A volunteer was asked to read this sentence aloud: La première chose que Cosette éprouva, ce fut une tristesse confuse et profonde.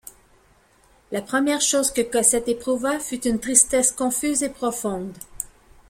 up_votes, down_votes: 0, 2